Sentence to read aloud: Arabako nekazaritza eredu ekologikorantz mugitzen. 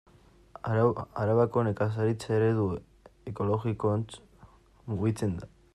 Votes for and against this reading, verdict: 0, 2, rejected